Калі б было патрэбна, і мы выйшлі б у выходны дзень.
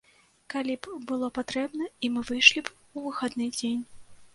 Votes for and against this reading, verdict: 0, 2, rejected